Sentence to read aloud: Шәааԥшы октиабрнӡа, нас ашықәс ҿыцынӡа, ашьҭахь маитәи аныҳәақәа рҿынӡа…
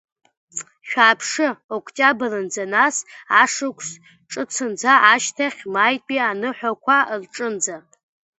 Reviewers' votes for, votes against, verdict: 0, 2, rejected